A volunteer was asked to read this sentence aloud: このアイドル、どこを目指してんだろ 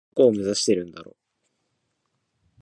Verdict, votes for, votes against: rejected, 1, 2